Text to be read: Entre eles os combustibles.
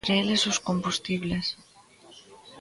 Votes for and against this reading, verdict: 1, 2, rejected